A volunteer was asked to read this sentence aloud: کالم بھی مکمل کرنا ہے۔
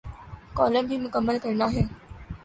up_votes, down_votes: 2, 0